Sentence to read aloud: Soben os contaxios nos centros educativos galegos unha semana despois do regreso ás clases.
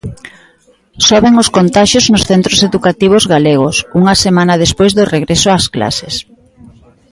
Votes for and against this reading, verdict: 1, 2, rejected